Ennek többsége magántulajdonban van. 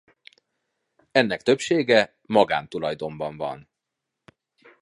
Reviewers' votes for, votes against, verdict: 2, 0, accepted